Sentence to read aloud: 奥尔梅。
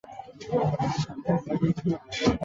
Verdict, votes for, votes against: accepted, 2, 1